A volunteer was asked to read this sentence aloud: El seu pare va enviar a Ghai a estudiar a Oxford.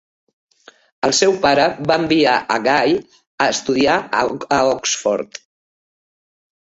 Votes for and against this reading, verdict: 1, 2, rejected